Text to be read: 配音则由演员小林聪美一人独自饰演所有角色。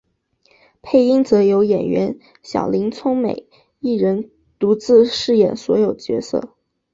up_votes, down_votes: 6, 2